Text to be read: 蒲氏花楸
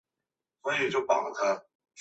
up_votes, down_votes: 2, 3